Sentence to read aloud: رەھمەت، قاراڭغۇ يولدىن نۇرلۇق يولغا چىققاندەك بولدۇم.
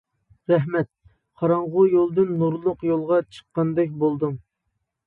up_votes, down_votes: 2, 0